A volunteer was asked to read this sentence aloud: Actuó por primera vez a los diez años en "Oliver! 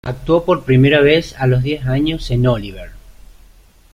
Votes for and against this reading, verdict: 2, 0, accepted